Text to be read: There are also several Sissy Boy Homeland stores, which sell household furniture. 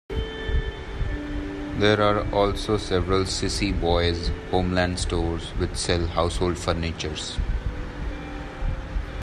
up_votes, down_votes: 2, 1